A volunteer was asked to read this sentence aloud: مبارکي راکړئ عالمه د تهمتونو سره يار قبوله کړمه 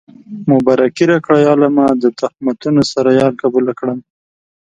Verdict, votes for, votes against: accepted, 2, 0